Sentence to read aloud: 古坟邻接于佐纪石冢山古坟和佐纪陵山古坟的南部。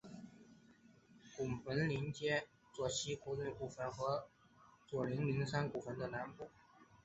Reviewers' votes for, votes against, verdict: 1, 2, rejected